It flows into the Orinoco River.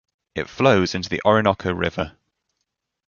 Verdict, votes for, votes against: accepted, 2, 1